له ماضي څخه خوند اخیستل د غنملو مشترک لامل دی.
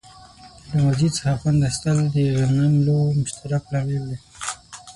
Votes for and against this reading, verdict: 3, 6, rejected